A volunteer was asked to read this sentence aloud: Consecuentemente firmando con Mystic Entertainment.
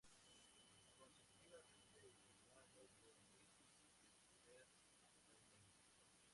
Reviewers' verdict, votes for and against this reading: rejected, 0, 2